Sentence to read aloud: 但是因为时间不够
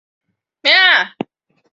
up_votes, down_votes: 0, 2